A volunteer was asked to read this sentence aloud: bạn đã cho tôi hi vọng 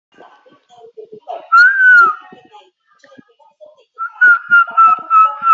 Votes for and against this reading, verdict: 0, 2, rejected